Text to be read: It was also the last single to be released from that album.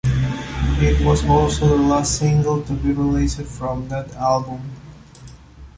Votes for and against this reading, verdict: 2, 1, accepted